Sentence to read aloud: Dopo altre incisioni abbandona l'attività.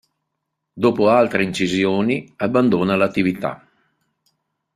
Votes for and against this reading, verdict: 2, 0, accepted